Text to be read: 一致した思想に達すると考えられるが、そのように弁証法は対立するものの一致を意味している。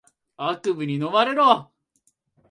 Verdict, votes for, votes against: rejected, 0, 2